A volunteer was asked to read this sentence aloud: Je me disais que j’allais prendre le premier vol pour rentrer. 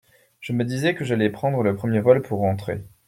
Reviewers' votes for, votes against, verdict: 2, 0, accepted